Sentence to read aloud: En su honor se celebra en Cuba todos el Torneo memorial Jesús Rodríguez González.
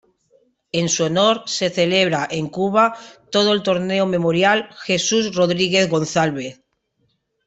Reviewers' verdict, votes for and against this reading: rejected, 1, 2